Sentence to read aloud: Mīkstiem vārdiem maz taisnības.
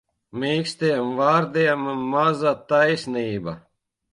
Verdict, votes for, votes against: rejected, 0, 2